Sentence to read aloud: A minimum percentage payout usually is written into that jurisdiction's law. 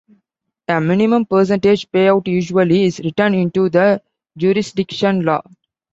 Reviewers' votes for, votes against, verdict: 0, 2, rejected